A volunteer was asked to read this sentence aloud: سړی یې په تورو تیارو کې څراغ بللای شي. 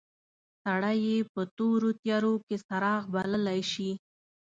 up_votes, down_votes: 2, 0